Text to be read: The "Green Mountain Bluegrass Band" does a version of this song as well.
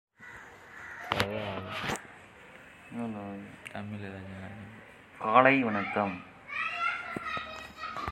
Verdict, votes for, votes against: rejected, 0, 2